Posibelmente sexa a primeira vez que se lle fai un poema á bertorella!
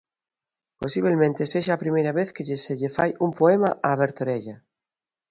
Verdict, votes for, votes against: rejected, 0, 2